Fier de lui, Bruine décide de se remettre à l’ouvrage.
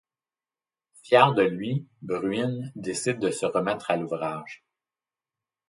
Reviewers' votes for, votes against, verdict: 2, 0, accepted